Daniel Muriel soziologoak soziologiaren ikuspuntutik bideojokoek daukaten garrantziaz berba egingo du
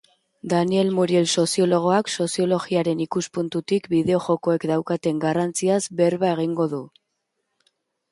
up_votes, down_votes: 2, 0